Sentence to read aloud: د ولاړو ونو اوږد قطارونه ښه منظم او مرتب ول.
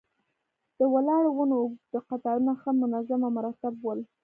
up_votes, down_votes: 2, 1